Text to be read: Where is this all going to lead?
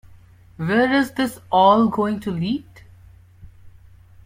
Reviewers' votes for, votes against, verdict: 1, 2, rejected